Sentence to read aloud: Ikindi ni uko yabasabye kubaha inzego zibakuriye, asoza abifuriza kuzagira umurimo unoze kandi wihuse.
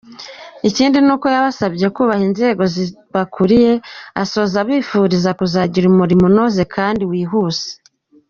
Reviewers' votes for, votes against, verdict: 1, 2, rejected